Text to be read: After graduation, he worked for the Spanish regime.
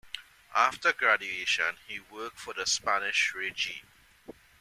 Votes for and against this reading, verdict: 0, 2, rejected